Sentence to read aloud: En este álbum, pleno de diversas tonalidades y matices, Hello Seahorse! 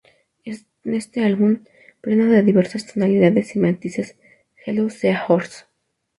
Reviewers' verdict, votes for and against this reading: rejected, 0, 2